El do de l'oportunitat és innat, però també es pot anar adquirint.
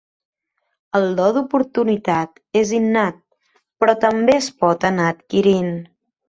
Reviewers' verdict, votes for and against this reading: rejected, 1, 2